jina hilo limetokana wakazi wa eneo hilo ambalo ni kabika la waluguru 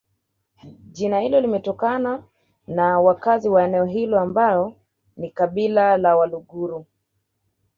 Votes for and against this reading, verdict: 1, 2, rejected